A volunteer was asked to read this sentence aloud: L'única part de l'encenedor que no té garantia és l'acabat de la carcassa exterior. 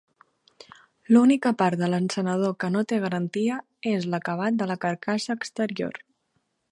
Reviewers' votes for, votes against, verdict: 3, 0, accepted